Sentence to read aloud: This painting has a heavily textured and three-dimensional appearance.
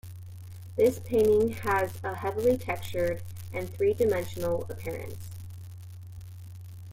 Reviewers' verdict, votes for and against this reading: rejected, 0, 2